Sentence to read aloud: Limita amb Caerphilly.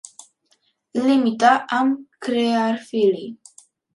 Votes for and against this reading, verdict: 1, 2, rejected